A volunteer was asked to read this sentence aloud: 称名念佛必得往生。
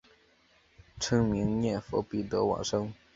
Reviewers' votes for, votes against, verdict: 2, 0, accepted